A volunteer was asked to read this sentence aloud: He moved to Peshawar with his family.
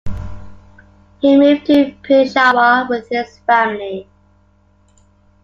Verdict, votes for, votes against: rejected, 1, 2